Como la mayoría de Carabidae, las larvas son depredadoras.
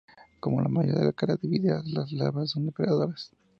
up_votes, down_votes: 0, 2